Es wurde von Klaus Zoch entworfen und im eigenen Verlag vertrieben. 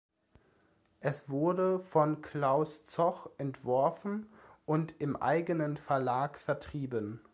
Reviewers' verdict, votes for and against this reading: accepted, 2, 0